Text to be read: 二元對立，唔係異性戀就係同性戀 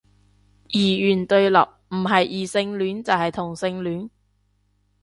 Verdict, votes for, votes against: accepted, 2, 0